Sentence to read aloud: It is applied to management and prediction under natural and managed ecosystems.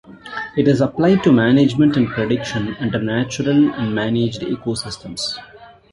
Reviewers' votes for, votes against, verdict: 2, 1, accepted